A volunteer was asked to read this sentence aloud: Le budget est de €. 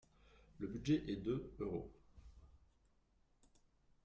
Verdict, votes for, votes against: accepted, 2, 1